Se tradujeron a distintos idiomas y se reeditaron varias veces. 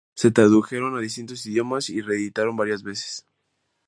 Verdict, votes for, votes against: rejected, 0, 2